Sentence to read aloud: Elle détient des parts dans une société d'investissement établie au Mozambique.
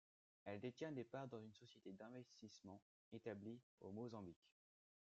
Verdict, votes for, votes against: rejected, 1, 2